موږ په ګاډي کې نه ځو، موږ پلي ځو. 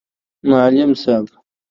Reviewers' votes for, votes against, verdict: 0, 2, rejected